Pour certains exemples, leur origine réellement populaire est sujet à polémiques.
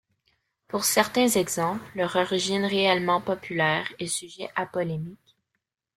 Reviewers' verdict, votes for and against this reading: rejected, 1, 2